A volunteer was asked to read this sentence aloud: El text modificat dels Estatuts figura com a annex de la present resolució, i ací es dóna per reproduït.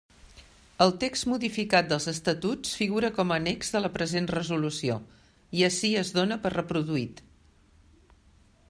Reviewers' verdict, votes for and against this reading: accepted, 2, 0